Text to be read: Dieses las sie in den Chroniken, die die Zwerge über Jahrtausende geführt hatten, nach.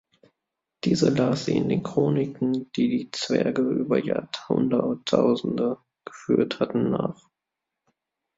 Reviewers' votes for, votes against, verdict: 0, 2, rejected